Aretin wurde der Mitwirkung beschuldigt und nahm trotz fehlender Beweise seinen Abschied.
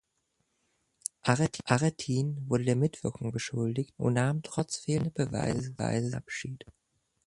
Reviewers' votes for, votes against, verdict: 0, 2, rejected